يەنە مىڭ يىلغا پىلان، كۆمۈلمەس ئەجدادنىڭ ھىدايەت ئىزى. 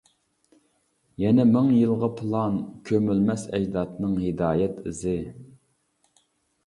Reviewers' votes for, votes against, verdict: 2, 0, accepted